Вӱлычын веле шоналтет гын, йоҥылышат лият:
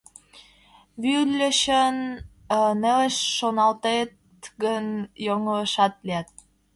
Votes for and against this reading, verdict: 0, 2, rejected